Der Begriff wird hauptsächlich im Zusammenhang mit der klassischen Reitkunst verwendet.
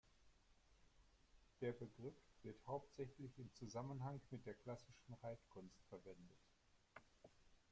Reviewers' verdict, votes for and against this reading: rejected, 0, 2